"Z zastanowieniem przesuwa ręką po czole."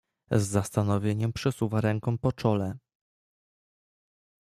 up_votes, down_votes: 2, 0